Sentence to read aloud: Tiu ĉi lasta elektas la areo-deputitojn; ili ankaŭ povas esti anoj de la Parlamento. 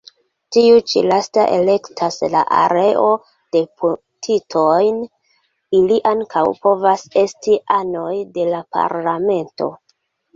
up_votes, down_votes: 2, 0